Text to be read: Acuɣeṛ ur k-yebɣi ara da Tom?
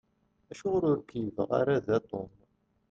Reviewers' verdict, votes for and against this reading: rejected, 1, 2